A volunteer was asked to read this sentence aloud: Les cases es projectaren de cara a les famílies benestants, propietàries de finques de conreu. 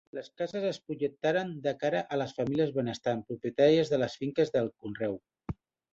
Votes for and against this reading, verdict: 1, 2, rejected